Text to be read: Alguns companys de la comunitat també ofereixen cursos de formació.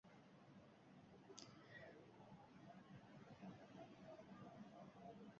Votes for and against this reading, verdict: 1, 2, rejected